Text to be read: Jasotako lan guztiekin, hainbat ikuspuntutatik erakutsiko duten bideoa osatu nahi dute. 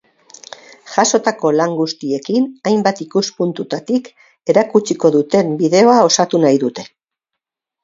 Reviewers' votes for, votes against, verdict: 6, 0, accepted